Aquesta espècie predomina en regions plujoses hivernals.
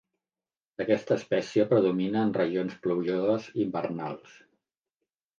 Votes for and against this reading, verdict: 0, 2, rejected